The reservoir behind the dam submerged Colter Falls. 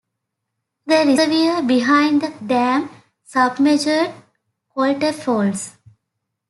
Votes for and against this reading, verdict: 0, 2, rejected